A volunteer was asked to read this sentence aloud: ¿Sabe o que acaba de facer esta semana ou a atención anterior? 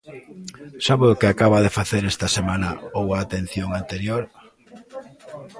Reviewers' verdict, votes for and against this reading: accepted, 2, 0